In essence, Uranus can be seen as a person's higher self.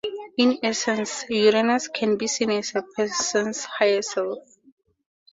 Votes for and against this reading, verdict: 4, 0, accepted